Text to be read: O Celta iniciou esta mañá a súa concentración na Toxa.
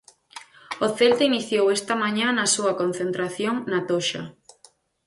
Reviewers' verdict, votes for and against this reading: rejected, 2, 4